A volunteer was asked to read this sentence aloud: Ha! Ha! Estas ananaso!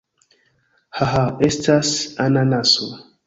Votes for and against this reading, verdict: 2, 0, accepted